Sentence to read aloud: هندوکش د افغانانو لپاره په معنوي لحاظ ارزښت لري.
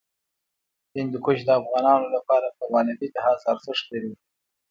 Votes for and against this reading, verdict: 2, 0, accepted